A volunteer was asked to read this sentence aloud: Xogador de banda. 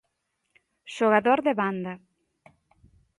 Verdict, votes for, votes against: accepted, 2, 0